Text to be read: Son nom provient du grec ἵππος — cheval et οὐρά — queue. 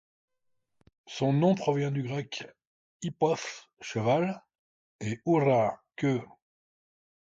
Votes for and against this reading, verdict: 2, 0, accepted